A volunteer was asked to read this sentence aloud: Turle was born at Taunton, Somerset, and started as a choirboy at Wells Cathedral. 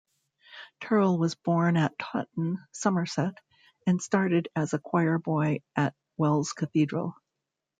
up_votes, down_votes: 1, 3